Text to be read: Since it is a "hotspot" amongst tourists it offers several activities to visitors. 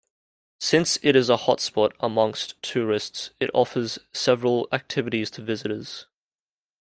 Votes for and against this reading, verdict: 2, 0, accepted